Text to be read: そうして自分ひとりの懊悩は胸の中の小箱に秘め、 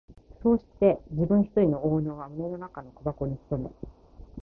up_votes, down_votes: 10, 3